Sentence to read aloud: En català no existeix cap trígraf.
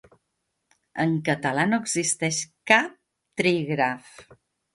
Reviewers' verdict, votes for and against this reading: accepted, 3, 0